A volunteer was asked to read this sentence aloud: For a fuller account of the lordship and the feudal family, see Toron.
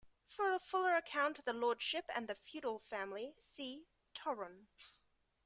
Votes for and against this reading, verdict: 0, 2, rejected